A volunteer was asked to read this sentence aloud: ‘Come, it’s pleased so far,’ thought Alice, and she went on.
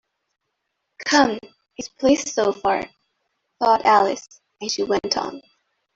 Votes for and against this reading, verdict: 2, 0, accepted